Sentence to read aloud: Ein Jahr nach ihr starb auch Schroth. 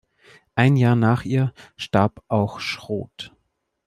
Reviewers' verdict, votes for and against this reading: accepted, 2, 0